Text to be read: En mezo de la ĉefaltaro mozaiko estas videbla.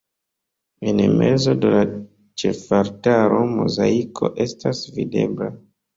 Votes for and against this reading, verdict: 2, 1, accepted